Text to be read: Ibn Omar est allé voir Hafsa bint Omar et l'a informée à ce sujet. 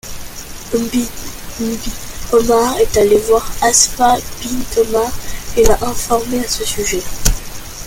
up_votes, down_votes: 2, 1